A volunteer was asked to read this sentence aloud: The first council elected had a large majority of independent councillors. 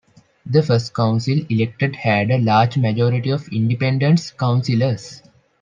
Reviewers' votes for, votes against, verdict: 1, 2, rejected